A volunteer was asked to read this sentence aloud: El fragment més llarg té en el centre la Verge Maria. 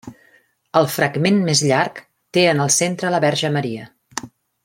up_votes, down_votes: 3, 0